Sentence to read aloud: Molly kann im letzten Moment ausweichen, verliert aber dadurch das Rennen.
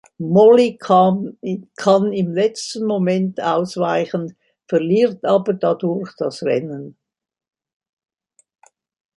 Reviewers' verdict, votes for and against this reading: rejected, 0, 2